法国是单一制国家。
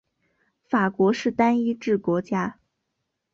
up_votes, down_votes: 3, 1